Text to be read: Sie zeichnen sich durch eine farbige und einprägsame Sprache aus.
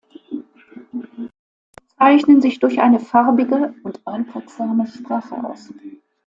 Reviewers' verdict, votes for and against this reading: rejected, 0, 2